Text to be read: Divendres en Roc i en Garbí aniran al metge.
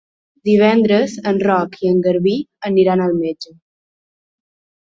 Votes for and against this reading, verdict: 3, 0, accepted